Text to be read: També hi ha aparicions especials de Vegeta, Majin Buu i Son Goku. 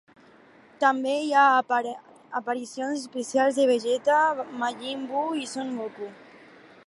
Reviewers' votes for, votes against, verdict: 0, 2, rejected